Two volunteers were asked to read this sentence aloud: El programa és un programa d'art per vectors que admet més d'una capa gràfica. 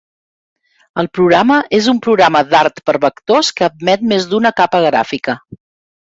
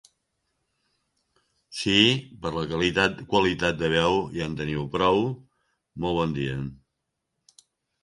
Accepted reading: first